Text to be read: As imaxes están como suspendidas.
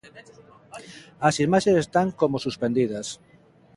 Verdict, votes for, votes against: accepted, 2, 0